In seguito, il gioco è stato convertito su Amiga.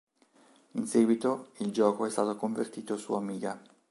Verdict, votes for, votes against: accepted, 3, 0